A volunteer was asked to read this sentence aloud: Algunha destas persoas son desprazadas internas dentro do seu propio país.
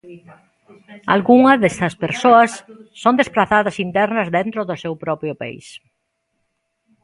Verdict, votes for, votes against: rejected, 1, 2